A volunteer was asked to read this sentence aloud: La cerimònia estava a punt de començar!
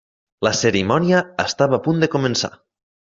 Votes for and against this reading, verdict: 3, 0, accepted